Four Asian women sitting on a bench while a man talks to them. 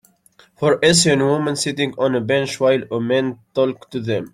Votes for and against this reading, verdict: 1, 2, rejected